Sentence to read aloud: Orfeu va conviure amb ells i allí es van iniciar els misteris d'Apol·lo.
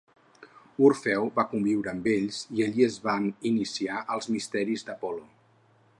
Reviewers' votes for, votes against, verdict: 4, 0, accepted